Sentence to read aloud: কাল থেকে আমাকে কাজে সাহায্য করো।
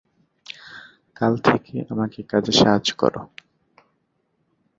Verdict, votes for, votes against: accepted, 2, 1